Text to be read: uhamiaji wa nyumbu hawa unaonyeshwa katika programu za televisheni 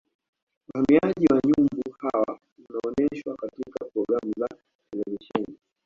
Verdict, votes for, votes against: rejected, 1, 2